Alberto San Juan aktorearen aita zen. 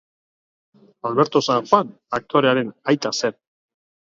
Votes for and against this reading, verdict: 2, 0, accepted